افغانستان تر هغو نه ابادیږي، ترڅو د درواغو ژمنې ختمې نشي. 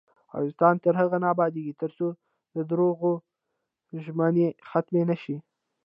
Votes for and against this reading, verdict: 0, 2, rejected